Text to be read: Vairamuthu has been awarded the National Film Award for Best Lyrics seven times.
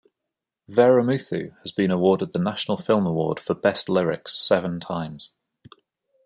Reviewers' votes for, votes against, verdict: 2, 0, accepted